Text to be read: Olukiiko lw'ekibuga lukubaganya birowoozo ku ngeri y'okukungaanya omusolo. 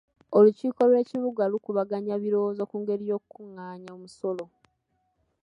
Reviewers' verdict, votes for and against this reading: accepted, 2, 1